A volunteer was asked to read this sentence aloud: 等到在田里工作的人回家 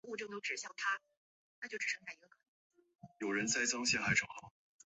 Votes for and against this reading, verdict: 3, 4, rejected